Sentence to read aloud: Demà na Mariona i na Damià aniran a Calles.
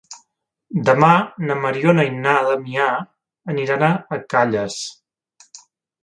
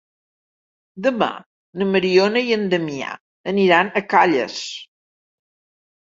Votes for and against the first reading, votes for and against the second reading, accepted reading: 2, 1, 1, 2, first